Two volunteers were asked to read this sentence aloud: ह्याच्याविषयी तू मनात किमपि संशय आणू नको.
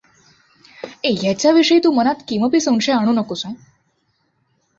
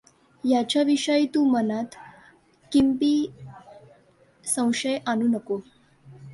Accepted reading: first